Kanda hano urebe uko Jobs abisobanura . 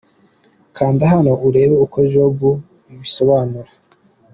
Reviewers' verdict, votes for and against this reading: accepted, 2, 0